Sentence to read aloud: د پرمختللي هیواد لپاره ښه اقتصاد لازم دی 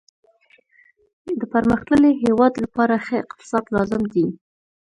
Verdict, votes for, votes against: accepted, 2, 0